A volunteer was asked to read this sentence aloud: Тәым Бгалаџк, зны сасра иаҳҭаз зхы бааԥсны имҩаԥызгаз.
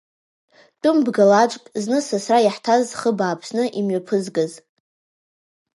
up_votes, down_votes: 1, 2